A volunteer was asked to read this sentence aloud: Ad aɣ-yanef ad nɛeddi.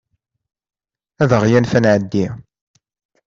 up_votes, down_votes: 2, 0